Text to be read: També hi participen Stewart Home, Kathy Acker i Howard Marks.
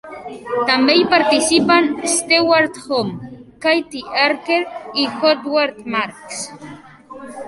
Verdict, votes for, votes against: accepted, 3, 2